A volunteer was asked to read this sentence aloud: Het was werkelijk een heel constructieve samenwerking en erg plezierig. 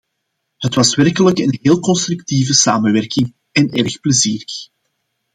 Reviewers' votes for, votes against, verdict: 2, 0, accepted